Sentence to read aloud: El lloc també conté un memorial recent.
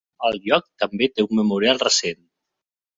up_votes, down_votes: 0, 2